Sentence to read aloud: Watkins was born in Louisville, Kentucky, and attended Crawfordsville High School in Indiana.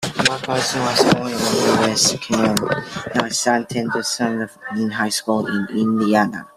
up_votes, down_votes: 0, 2